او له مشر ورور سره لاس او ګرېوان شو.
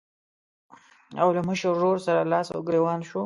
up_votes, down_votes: 2, 0